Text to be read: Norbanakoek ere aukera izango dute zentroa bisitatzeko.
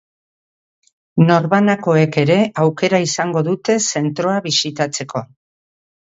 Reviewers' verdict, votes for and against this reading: accepted, 2, 1